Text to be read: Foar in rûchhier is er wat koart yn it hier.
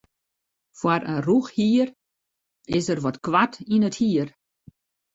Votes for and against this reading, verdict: 2, 0, accepted